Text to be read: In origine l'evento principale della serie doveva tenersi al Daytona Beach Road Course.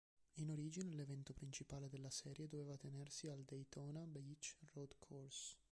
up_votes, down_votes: 0, 2